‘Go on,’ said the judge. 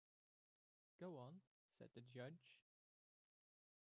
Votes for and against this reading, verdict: 0, 2, rejected